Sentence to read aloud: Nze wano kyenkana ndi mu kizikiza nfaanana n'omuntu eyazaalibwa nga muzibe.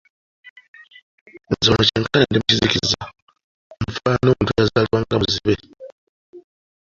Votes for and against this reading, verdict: 0, 2, rejected